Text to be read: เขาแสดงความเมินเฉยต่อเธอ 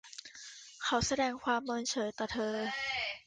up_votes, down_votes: 1, 2